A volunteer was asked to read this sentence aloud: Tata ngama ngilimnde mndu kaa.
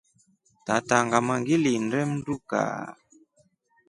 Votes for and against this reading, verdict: 3, 0, accepted